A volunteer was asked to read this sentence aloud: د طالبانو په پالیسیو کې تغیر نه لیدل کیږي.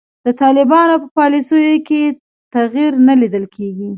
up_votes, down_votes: 2, 0